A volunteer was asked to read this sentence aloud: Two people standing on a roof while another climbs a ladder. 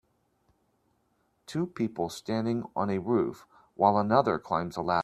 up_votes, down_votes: 1, 2